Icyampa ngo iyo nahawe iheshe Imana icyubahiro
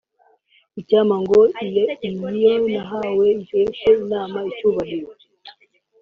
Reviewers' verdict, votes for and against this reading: accepted, 2, 0